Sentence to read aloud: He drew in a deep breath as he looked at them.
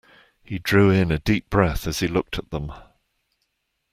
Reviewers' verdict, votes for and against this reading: accepted, 2, 0